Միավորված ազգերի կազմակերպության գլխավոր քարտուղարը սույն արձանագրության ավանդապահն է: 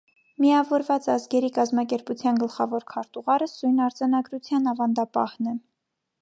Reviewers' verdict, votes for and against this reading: accepted, 2, 0